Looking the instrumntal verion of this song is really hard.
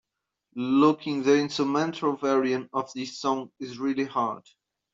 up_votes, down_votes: 0, 2